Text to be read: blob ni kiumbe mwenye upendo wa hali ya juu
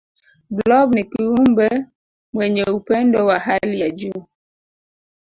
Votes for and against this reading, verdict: 1, 2, rejected